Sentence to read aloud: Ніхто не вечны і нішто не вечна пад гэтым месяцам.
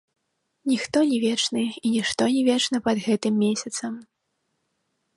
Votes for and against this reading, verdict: 1, 2, rejected